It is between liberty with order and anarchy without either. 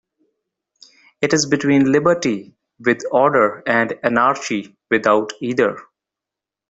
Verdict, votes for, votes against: rejected, 1, 2